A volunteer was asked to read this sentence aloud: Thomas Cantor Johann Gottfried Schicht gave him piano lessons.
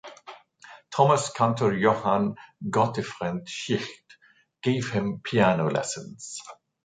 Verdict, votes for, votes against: rejected, 0, 2